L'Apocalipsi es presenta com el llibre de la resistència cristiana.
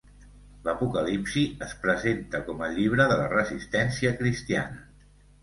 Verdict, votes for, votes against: accepted, 2, 0